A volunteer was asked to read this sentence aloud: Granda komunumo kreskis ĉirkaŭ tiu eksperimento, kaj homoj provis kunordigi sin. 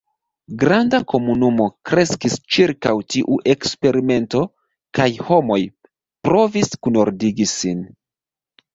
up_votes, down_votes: 2, 0